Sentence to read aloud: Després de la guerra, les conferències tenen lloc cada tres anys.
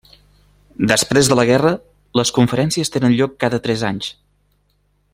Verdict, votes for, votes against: accepted, 3, 0